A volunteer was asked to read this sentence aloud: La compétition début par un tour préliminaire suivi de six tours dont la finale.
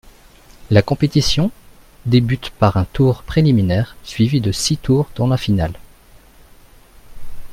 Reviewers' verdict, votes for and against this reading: rejected, 1, 2